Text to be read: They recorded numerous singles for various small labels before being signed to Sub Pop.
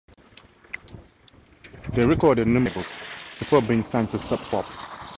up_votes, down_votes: 0, 4